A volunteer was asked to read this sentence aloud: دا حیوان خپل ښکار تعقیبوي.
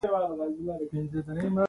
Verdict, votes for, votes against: rejected, 0, 2